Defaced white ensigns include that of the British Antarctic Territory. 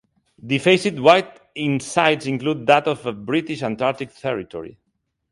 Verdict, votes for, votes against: rejected, 1, 2